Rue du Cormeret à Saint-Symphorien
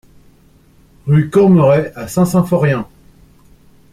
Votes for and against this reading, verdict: 0, 2, rejected